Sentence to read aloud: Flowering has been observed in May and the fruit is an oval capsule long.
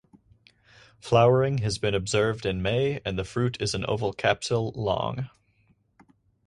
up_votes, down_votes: 4, 0